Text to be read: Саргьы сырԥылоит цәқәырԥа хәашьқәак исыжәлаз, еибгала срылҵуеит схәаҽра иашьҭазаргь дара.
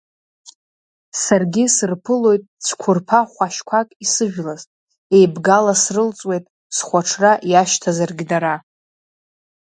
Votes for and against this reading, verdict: 2, 0, accepted